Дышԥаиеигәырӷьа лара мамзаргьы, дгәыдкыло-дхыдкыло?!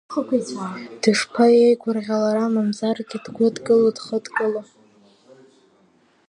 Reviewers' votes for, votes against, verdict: 3, 0, accepted